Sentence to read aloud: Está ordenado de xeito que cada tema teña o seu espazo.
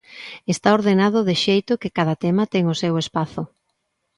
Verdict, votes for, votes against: rejected, 0, 2